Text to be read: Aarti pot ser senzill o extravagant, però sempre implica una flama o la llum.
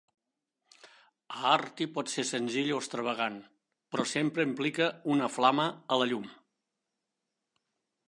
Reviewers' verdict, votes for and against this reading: rejected, 1, 3